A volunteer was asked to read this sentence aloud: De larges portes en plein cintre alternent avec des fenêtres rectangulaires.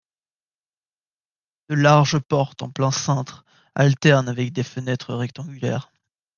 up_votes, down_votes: 1, 2